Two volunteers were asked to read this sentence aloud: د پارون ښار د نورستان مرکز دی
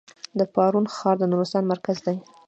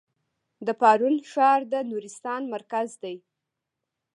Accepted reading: first